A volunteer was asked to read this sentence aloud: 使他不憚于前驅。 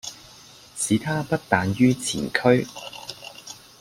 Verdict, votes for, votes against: accepted, 2, 1